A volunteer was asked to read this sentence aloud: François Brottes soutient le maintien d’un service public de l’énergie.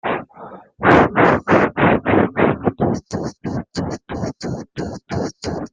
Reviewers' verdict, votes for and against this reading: rejected, 0, 2